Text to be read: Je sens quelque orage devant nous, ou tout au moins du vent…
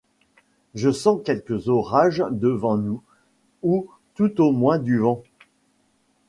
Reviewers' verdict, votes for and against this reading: accepted, 2, 1